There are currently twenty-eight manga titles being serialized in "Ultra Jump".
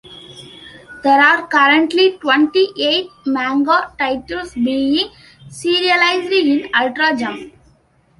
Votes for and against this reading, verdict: 1, 2, rejected